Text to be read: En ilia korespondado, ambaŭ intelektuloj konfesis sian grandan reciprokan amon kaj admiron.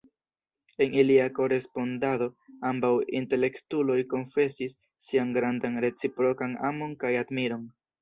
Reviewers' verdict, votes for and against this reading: accepted, 2, 0